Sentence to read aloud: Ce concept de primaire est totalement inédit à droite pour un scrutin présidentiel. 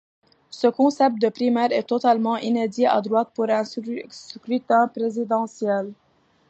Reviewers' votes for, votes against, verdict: 2, 1, accepted